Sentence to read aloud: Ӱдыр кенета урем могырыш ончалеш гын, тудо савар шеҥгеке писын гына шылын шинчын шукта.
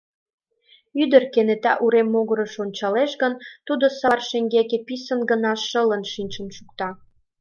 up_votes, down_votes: 2, 0